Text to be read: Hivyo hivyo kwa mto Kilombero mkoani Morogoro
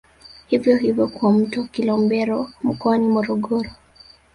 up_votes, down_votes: 1, 2